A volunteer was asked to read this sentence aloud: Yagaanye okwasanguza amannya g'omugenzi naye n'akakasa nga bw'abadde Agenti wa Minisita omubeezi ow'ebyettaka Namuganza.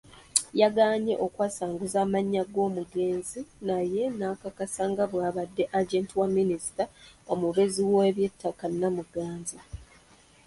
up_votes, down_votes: 1, 2